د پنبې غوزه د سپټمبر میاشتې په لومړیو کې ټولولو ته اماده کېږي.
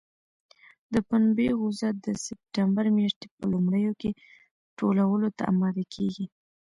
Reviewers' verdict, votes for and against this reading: rejected, 1, 2